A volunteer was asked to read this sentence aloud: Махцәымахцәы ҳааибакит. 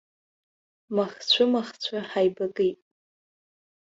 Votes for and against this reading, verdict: 2, 0, accepted